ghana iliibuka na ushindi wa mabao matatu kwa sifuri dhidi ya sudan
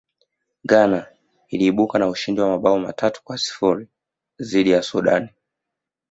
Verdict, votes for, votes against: accepted, 2, 0